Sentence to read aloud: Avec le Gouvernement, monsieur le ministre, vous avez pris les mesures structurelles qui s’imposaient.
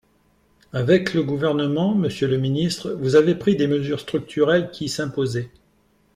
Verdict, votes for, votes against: rejected, 0, 2